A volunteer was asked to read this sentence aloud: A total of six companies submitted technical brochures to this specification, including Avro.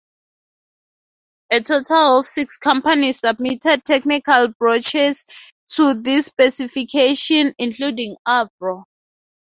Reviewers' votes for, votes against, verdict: 2, 2, rejected